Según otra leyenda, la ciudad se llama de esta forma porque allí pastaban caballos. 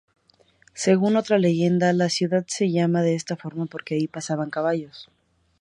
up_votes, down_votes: 0, 2